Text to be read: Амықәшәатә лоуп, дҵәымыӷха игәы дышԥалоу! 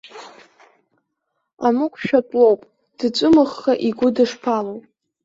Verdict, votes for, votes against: rejected, 0, 2